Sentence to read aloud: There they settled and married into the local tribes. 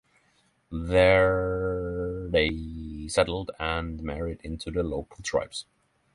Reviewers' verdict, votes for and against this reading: rejected, 3, 6